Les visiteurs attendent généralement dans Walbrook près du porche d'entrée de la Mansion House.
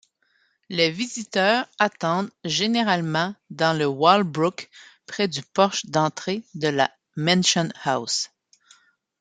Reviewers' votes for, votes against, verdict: 0, 2, rejected